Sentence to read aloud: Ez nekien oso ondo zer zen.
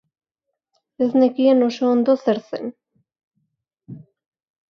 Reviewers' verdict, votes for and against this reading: accepted, 3, 0